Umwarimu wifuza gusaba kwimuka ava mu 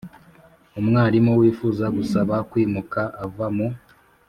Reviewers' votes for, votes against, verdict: 2, 0, accepted